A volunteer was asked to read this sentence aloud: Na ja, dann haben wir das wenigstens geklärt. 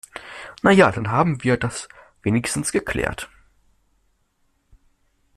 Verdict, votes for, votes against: accepted, 2, 0